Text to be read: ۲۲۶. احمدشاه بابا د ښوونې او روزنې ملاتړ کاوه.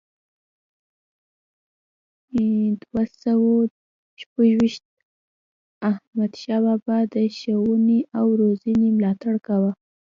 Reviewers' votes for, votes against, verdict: 0, 2, rejected